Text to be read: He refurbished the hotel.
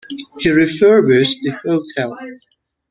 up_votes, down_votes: 1, 2